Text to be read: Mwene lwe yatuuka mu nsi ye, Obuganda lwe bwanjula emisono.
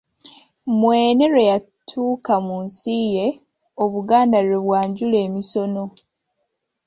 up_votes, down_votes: 3, 0